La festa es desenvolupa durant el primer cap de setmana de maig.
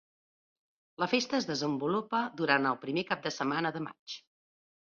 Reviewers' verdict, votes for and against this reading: accepted, 2, 0